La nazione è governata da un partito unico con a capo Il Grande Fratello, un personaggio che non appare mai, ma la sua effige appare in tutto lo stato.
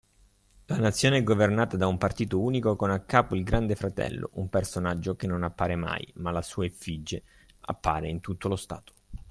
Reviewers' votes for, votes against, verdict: 2, 0, accepted